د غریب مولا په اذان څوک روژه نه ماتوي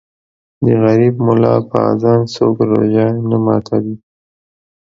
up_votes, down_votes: 2, 0